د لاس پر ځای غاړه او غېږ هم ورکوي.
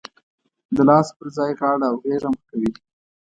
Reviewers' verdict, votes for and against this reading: accepted, 2, 0